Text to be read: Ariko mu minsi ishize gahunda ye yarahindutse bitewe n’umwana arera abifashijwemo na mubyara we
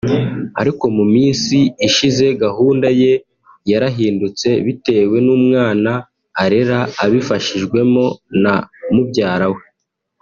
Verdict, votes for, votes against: accepted, 2, 0